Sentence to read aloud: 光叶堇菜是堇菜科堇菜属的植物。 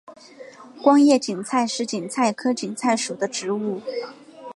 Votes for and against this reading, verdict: 3, 0, accepted